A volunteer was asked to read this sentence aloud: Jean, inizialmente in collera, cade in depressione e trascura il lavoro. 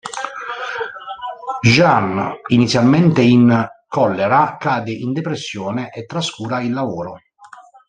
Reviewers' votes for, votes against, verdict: 1, 2, rejected